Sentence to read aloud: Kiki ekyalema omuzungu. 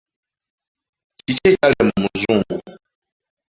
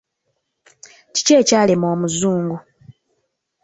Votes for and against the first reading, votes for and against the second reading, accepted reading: 0, 2, 2, 0, second